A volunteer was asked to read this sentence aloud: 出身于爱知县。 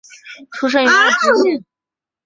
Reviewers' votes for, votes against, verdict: 2, 3, rejected